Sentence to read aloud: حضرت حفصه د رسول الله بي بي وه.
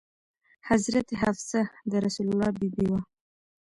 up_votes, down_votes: 2, 0